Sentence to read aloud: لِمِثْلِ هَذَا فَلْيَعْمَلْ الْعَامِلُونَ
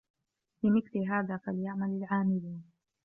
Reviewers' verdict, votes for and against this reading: accepted, 2, 0